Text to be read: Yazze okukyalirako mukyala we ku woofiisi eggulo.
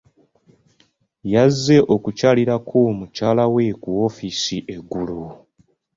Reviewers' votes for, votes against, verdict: 3, 0, accepted